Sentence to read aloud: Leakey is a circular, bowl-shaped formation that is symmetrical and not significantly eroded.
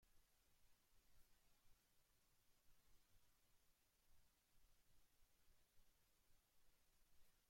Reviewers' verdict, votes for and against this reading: rejected, 0, 2